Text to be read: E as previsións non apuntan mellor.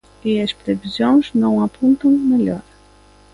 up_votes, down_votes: 0, 2